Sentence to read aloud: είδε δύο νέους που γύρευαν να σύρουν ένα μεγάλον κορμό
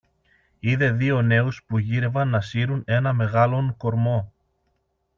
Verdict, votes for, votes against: accepted, 2, 0